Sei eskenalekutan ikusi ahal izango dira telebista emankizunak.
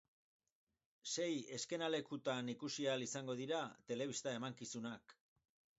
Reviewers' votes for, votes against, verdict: 0, 4, rejected